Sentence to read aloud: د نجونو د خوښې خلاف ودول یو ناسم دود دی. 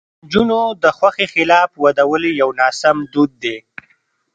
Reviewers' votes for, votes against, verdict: 2, 0, accepted